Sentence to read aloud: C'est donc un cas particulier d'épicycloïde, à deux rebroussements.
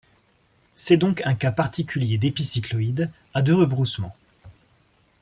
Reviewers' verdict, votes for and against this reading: accepted, 2, 0